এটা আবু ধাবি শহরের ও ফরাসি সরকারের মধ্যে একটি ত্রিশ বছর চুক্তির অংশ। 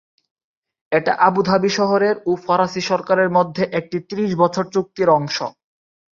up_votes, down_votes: 3, 0